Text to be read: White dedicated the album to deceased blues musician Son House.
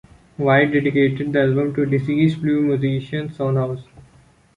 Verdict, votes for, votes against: accepted, 2, 0